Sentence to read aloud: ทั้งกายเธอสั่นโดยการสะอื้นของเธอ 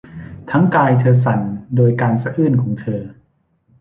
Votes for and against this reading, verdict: 1, 2, rejected